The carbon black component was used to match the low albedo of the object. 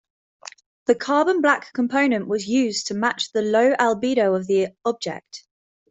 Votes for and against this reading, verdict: 2, 0, accepted